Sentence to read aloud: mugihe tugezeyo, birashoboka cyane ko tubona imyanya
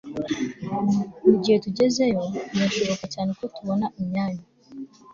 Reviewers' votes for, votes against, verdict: 2, 1, accepted